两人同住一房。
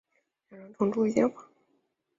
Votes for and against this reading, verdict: 1, 2, rejected